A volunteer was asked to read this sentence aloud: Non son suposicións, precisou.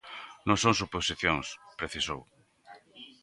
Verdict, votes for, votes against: accepted, 2, 0